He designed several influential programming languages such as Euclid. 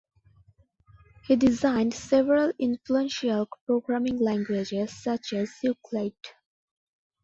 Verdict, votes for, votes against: accepted, 2, 0